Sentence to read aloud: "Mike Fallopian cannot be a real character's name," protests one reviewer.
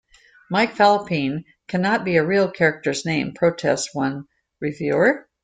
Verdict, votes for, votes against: accepted, 2, 0